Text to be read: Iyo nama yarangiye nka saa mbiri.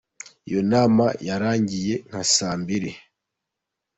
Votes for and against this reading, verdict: 3, 0, accepted